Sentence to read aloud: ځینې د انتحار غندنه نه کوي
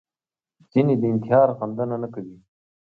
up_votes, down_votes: 5, 1